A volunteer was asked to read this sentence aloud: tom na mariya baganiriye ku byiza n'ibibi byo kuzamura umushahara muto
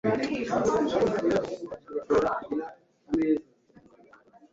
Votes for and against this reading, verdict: 1, 2, rejected